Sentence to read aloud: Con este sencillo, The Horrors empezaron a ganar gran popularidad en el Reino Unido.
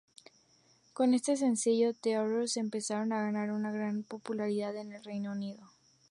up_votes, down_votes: 4, 0